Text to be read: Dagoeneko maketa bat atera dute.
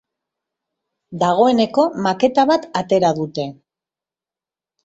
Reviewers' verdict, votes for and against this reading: rejected, 0, 2